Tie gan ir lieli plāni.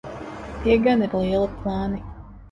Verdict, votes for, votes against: rejected, 1, 3